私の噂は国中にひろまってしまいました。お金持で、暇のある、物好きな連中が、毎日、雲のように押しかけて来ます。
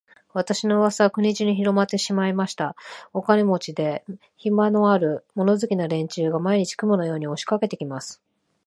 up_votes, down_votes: 2, 0